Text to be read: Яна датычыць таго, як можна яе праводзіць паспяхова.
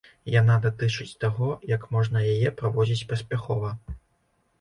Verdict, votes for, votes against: accepted, 2, 0